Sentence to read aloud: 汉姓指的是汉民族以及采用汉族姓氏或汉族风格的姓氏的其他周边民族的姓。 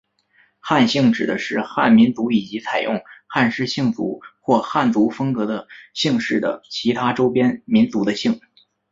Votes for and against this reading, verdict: 0, 2, rejected